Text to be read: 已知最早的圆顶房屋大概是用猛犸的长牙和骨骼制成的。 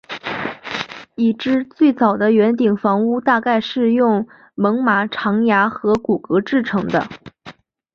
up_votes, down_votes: 2, 0